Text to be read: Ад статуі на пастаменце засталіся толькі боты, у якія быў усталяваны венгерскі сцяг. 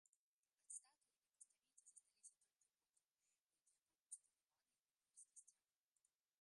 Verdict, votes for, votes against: rejected, 0, 3